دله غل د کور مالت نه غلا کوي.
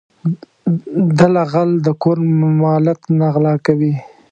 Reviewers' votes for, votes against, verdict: 1, 2, rejected